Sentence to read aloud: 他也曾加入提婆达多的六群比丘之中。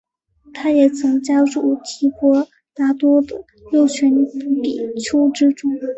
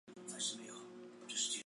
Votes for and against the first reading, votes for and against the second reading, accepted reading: 3, 1, 0, 2, first